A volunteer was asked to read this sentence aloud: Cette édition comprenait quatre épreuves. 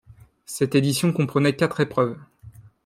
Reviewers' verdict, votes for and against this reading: accepted, 2, 0